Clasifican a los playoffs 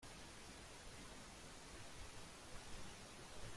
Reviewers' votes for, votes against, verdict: 0, 2, rejected